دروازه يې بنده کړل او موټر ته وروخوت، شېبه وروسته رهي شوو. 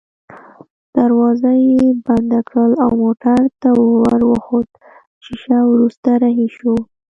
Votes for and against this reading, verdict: 0, 2, rejected